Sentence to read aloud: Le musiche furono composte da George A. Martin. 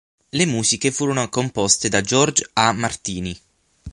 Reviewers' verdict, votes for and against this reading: rejected, 3, 6